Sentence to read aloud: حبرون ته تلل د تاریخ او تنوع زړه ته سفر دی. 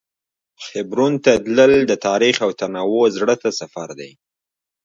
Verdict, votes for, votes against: rejected, 1, 2